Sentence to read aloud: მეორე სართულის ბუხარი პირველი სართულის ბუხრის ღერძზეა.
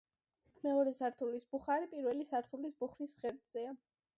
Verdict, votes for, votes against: accepted, 2, 0